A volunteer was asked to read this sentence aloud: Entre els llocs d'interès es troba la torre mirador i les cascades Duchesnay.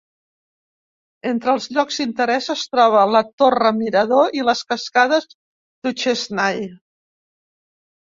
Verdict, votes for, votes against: rejected, 0, 2